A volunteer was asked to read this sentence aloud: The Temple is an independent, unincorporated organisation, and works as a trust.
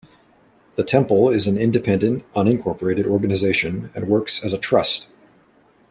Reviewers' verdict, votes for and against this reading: accepted, 2, 1